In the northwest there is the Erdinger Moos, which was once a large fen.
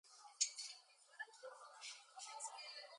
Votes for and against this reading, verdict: 0, 2, rejected